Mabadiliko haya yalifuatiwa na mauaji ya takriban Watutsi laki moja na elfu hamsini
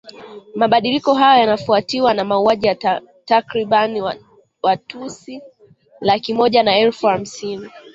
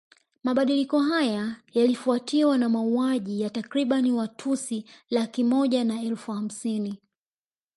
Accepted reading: second